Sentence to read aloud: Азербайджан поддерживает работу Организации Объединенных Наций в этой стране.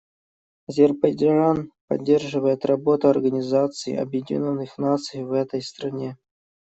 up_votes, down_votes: 0, 2